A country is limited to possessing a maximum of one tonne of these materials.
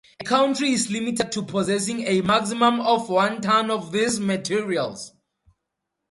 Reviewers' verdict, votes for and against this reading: rejected, 0, 2